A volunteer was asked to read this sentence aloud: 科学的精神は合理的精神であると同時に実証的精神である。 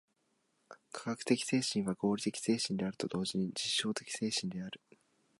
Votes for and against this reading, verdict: 3, 0, accepted